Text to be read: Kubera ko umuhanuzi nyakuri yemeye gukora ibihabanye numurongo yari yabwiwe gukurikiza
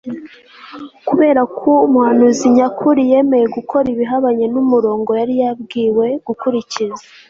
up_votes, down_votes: 2, 0